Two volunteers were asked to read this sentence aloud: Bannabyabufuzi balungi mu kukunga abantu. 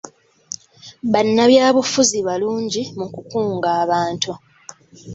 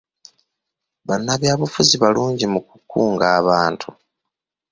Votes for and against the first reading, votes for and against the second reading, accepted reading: 2, 0, 1, 2, first